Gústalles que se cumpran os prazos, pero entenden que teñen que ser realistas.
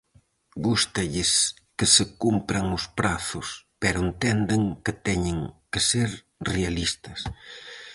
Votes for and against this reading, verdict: 4, 0, accepted